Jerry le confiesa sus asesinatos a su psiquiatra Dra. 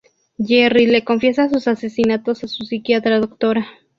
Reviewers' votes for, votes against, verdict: 2, 0, accepted